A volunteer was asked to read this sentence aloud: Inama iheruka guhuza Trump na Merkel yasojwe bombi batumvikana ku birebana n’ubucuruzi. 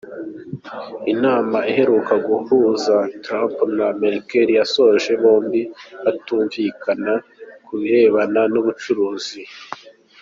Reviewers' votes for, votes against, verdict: 2, 0, accepted